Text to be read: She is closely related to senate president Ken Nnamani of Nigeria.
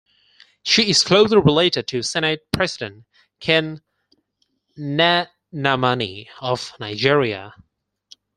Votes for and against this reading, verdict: 2, 4, rejected